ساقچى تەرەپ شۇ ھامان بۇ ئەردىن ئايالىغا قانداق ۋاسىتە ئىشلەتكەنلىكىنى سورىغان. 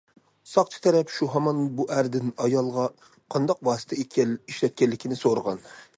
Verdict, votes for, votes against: rejected, 0, 2